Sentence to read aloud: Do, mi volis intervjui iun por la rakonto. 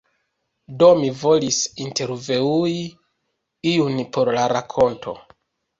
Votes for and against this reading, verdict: 0, 2, rejected